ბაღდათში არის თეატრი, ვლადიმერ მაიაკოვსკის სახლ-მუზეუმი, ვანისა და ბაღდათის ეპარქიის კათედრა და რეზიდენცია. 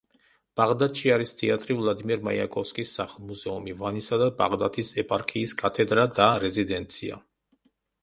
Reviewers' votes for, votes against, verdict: 2, 0, accepted